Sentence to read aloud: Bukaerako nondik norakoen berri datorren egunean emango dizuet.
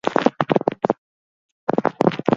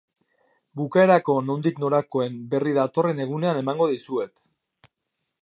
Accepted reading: second